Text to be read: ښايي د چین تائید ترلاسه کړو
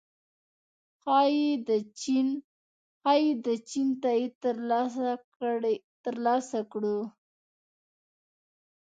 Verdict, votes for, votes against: rejected, 0, 2